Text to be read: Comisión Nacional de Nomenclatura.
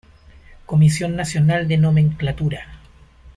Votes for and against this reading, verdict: 2, 0, accepted